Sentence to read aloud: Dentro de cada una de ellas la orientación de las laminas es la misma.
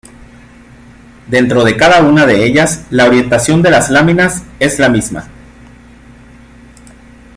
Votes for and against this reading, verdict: 2, 0, accepted